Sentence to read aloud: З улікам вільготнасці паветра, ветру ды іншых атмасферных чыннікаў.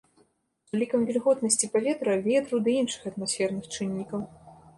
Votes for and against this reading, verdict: 1, 2, rejected